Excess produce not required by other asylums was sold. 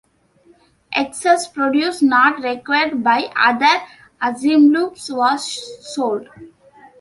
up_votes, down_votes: 1, 2